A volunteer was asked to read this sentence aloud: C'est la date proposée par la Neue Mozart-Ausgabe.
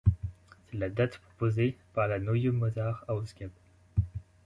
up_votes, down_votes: 1, 2